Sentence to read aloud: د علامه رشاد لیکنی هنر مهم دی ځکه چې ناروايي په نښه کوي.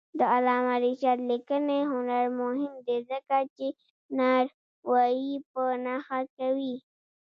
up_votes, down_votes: 0, 2